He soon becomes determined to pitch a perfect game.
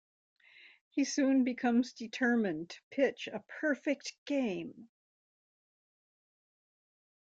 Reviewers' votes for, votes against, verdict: 2, 0, accepted